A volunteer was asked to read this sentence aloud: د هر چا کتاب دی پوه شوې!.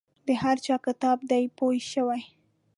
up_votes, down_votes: 0, 3